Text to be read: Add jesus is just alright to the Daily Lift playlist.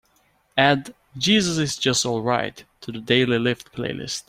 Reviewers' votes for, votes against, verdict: 2, 0, accepted